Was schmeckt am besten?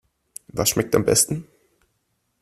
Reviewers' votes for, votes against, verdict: 2, 0, accepted